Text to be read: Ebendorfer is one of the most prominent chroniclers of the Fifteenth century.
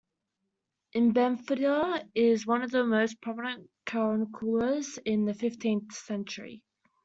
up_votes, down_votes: 0, 2